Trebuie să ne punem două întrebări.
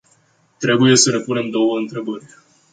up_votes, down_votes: 2, 0